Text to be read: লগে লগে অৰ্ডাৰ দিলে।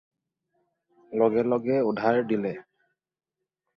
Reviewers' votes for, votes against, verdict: 0, 4, rejected